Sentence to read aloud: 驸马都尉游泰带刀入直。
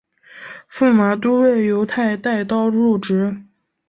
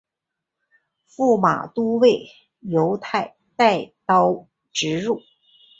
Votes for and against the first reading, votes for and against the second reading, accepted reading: 2, 0, 1, 3, first